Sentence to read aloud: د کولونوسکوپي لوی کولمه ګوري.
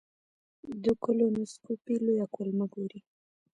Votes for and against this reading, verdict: 1, 2, rejected